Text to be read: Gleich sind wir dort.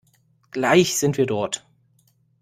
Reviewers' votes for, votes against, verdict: 2, 0, accepted